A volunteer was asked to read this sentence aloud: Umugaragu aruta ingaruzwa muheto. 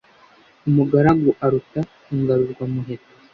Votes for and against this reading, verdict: 2, 0, accepted